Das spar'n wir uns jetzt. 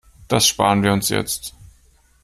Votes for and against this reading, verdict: 2, 0, accepted